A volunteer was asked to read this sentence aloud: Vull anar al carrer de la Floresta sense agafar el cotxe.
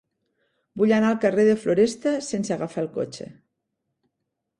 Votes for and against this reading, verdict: 0, 2, rejected